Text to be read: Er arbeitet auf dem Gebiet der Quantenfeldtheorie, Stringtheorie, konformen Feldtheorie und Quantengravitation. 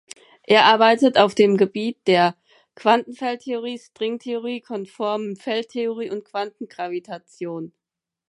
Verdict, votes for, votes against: accepted, 4, 0